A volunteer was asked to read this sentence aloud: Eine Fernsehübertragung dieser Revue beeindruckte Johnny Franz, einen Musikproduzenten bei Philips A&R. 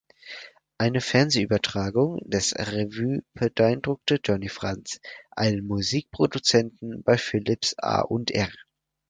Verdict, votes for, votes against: rejected, 0, 4